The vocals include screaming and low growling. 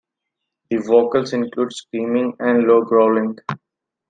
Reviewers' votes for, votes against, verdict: 2, 0, accepted